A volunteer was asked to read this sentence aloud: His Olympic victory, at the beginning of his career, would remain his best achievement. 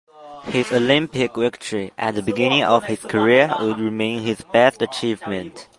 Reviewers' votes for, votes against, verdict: 1, 2, rejected